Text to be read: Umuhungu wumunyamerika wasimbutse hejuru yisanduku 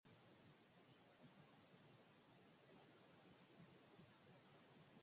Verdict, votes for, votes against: rejected, 0, 2